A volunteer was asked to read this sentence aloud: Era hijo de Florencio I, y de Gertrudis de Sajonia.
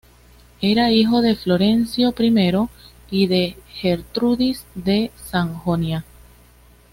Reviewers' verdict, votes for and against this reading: accepted, 2, 0